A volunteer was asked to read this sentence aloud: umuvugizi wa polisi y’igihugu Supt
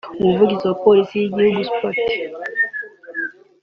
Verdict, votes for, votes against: accepted, 2, 1